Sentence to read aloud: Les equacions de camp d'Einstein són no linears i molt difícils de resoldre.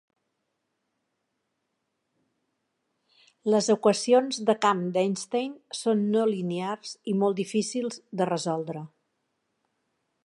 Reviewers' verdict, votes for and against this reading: accepted, 2, 0